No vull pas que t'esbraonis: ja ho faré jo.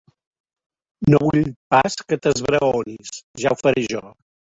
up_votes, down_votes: 1, 2